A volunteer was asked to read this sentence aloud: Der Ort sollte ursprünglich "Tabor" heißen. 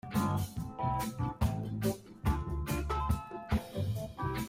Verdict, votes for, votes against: rejected, 0, 2